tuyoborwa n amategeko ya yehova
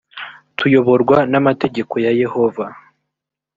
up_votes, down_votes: 2, 0